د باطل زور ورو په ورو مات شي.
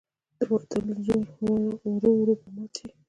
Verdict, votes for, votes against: rejected, 1, 2